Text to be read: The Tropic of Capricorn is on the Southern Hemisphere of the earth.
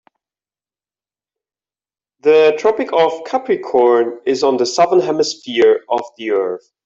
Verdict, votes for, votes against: rejected, 0, 2